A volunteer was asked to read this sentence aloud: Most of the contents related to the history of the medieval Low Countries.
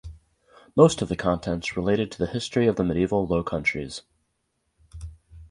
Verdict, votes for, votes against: rejected, 2, 2